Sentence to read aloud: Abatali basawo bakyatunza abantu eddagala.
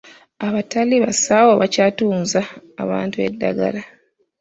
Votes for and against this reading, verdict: 1, 2, rejected